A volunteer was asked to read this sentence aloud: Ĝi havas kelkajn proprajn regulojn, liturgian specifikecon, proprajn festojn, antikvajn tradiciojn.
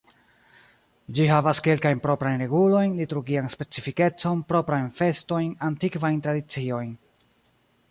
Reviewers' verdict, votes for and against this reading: rejected, 0, 2